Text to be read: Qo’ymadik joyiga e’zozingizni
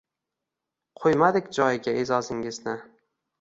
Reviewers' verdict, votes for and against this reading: accepted, 2, 0